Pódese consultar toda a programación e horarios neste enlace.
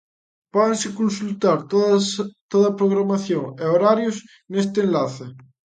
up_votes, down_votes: 0, 2